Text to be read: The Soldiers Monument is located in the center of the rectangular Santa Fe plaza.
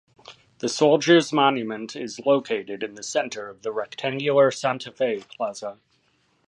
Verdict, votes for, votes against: accepted, 2, 0